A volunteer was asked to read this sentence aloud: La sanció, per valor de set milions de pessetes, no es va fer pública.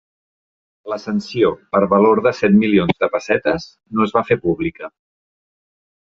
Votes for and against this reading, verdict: 2, 0, accepted